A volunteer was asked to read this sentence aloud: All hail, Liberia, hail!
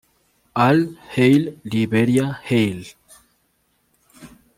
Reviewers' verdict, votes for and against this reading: rejected, 1, 2